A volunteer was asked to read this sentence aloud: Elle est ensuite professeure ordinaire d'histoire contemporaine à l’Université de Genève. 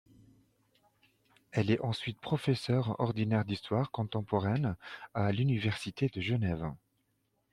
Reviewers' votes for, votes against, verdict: 2, 0, accepted